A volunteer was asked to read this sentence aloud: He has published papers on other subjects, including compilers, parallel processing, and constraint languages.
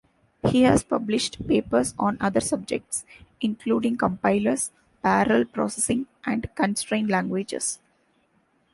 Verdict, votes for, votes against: rejected, 1, 2